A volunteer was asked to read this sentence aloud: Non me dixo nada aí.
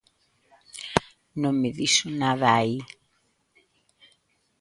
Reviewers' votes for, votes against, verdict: 2, 0, accepted